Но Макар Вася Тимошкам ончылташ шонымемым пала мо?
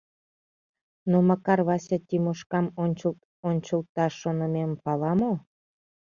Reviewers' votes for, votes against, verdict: 0, 2, rejected